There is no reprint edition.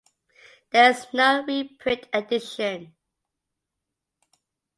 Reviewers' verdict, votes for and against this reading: rejected, 0, 2